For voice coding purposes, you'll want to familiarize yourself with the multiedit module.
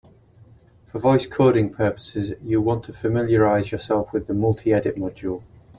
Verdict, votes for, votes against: rejected, 1, 2